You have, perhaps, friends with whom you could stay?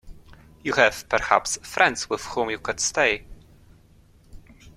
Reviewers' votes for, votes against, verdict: 2, 0, accepted